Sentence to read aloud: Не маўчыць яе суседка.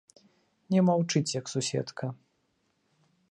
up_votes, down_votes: 1, 2